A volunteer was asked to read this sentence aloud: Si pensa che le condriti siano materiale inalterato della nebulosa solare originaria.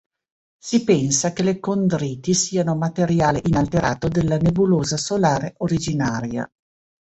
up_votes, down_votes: 2, 0